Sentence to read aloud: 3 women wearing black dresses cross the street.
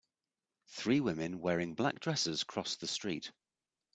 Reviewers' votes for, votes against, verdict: 0, 2, rejected